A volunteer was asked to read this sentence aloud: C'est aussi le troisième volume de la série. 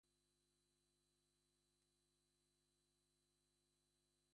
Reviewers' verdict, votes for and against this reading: rejected, 0, 2